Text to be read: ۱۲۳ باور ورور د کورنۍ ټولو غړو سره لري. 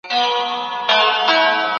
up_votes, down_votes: 0, 2